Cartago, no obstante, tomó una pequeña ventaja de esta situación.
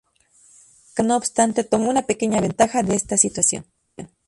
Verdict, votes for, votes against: rejected, 0, 2